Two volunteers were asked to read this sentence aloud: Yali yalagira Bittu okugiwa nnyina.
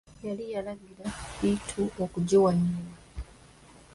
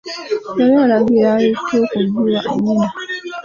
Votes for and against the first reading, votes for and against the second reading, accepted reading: 0, 2, 2, 1, second